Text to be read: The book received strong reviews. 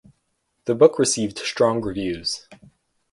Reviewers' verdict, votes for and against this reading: accepted, 4, 0